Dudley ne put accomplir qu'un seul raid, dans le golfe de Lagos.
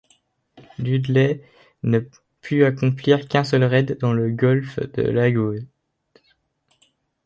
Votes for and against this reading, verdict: 2, 1, accepted